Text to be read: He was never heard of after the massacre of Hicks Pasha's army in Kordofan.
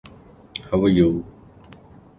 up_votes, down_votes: 0, 2